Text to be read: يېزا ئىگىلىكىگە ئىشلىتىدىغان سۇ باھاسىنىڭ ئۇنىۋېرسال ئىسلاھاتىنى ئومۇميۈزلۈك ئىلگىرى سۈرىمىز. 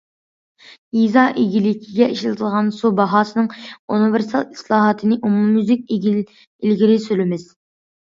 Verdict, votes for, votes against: rejected, 0, 2